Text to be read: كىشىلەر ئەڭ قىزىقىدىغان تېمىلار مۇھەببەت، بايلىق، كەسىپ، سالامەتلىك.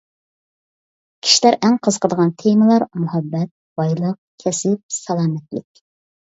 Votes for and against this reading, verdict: 2, 0, accepted